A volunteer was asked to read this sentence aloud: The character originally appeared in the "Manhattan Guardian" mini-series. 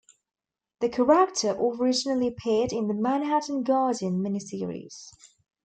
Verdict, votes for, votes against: rejected, 1, 2